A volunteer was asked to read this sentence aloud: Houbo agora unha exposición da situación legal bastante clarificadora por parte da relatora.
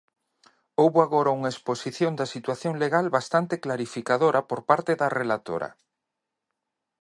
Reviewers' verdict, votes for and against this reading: accepted, 2, 0